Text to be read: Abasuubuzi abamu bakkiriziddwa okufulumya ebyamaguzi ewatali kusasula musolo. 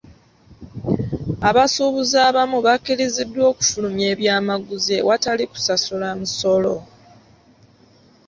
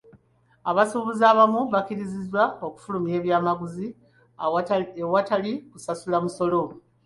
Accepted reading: second